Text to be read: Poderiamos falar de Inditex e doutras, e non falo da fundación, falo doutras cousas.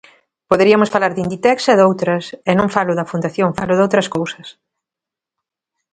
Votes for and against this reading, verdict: 1, 2, rejected